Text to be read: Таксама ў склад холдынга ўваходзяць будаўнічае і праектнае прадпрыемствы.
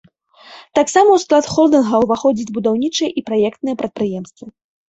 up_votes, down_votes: 2, 0